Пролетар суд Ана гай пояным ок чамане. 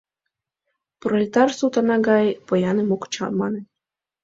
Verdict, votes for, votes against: accepted, 2, 0